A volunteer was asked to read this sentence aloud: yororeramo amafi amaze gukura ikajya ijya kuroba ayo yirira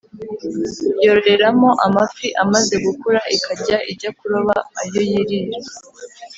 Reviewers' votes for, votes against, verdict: 3, 0, accepted